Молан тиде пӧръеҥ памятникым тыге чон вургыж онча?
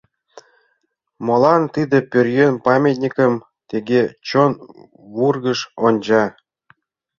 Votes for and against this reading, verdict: 0, 2, rejected